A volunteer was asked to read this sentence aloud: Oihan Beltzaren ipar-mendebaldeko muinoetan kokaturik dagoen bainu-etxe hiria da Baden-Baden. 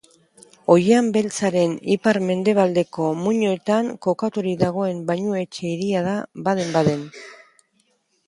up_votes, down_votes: 2, 0